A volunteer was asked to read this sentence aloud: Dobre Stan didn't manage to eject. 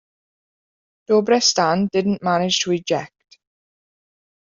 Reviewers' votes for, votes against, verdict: 2, 1, accepted